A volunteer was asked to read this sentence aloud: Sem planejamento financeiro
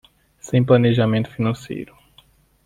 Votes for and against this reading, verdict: 2, 1, accepted